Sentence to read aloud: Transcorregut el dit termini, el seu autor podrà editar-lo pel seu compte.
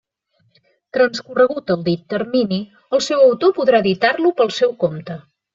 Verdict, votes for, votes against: accepted, 3, 0